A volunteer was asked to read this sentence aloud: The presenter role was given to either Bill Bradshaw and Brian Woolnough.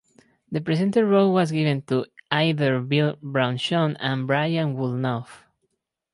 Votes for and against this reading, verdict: 0, 4, rejected